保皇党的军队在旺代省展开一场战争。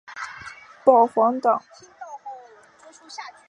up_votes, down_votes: 1, 2